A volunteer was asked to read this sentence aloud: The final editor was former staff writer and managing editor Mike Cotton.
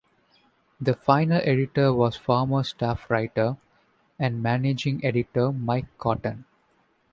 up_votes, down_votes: 2, 0